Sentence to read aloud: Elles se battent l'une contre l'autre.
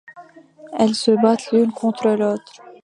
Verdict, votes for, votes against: rejected, 1, 2